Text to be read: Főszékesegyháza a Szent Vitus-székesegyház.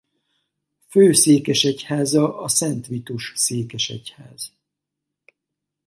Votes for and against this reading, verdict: 4, 0, accepted